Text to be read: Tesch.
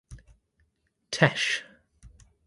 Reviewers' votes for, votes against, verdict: 2, 0, accepted